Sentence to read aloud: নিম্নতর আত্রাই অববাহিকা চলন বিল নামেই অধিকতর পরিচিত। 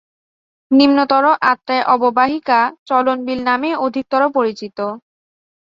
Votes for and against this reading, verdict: 2, 0, accepted